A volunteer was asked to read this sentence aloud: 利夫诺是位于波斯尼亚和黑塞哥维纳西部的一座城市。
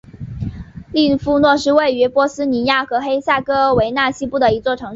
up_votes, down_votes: 1, 2